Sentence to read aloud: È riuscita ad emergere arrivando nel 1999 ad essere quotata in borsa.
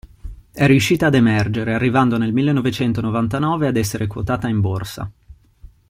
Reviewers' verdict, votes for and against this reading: rejected, 0, 2